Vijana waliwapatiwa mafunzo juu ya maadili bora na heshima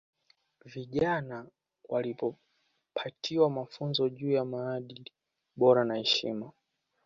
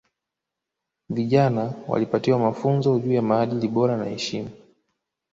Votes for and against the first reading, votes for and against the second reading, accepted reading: 0, 2, 2, 0, second